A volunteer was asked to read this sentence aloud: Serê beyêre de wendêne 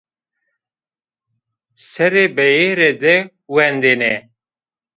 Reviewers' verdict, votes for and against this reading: accepted, 2, 0